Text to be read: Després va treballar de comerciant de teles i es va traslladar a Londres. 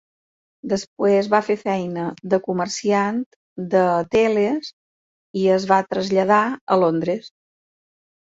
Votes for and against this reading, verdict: 0, 2, rejected